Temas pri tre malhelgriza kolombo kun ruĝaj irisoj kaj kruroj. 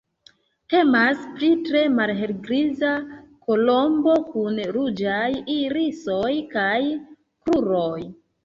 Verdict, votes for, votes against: accepted, 2, 1